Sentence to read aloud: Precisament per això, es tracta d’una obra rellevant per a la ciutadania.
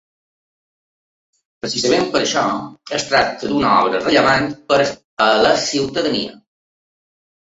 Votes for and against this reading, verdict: 2, 1, accepted